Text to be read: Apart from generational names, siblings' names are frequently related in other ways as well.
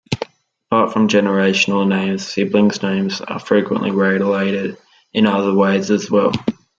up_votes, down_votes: 1, 2